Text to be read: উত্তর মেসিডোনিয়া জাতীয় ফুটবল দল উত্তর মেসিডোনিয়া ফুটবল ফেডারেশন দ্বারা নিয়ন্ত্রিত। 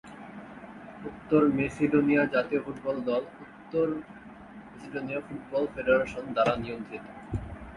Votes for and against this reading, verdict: 2, 3, rejected